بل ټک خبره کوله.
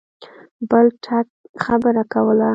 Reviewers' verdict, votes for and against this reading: accepted, 2, 1